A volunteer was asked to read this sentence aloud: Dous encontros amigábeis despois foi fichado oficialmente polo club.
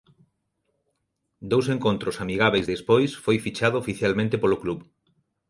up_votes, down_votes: 3, 0